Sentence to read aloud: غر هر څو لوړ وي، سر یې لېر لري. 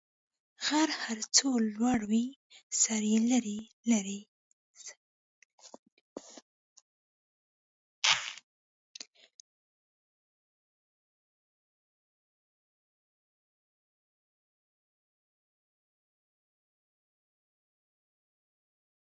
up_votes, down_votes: 0, 2